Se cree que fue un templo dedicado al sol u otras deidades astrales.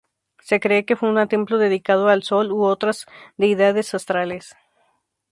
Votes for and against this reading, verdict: 0, 2, rejected